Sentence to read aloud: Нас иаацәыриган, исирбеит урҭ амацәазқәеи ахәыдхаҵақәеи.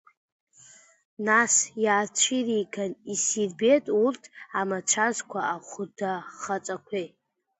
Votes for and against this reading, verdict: 0, 2, rejected